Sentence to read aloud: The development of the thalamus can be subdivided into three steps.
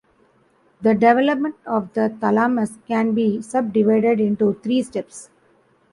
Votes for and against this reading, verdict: 2, 0, accepted